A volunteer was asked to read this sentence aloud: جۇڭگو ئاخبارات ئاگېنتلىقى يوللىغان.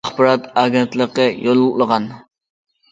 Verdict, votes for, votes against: rejected, 0, 2